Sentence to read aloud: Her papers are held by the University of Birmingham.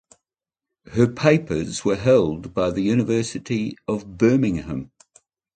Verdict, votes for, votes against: accepted, 2, 0